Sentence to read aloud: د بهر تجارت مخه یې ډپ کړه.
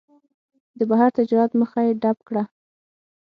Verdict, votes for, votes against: accepted, 6, 0